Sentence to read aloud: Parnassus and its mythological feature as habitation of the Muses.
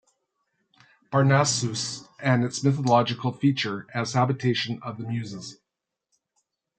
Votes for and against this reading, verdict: 2, 0, accepted